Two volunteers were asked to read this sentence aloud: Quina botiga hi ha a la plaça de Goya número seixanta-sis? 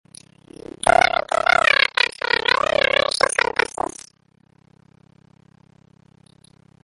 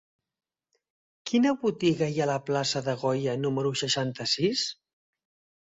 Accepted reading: second